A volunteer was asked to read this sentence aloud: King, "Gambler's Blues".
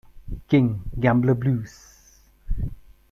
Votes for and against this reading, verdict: 0, 2, rejected